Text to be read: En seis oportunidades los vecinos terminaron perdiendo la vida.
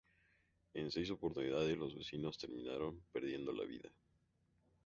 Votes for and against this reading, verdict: 0, 2, rejected